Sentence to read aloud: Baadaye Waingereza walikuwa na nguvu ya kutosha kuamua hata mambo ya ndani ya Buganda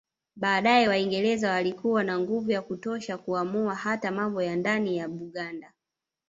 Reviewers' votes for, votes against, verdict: 1, 2, rejected